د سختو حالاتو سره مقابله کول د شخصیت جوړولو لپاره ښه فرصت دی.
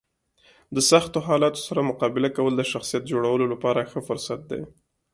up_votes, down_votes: 2, 0